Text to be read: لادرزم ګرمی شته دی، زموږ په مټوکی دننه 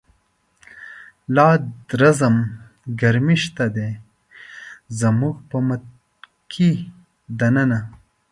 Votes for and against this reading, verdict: 2, 1, accepted